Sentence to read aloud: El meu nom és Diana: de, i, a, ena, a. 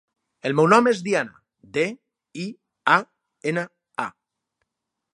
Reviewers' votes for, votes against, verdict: 4, 0, accepted